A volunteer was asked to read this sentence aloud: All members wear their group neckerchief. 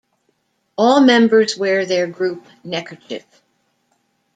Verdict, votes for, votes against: rejected, 1, 2